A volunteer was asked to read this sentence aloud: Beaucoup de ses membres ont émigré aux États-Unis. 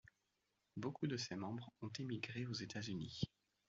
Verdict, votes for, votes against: accepted, 2, 0